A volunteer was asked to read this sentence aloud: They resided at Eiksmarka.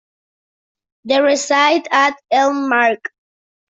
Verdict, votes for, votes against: rejected, 0, 2